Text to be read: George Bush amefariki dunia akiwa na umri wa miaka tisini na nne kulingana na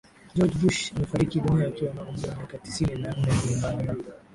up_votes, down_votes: 0, 2